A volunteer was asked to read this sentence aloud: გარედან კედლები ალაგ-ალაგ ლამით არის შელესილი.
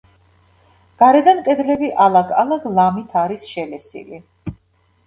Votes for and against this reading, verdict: 1, 2, rejected